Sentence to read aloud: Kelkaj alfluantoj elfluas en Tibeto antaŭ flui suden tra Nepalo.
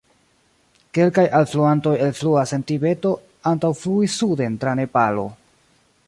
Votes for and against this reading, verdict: 1, 2, rejected